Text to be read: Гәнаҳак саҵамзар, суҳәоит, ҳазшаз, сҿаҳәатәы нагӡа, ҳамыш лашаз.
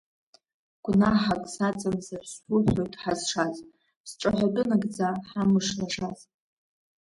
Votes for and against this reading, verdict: 2, 1, accepted